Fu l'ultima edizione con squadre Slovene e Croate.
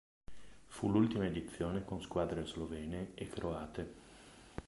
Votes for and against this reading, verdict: 0, 2, rejected